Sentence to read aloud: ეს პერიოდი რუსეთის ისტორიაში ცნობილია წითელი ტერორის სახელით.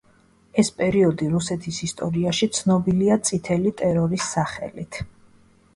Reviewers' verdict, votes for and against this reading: accepted, 2, 0